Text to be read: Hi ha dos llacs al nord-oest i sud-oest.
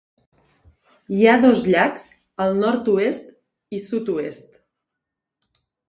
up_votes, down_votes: 2, 0